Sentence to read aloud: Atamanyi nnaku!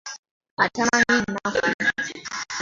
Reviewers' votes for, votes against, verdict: 0, 2, rejected